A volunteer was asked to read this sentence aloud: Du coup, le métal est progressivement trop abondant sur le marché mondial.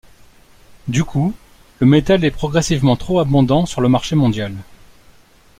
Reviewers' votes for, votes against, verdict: 2, 0, accepted